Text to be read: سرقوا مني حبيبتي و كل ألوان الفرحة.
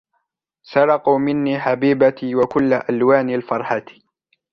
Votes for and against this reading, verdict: 2, 1, accepted